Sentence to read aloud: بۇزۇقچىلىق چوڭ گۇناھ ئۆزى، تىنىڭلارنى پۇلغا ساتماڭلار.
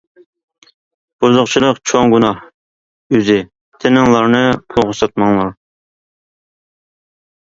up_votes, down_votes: 2, 1